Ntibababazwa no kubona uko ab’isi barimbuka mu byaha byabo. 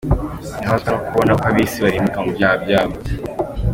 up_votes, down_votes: 0, 2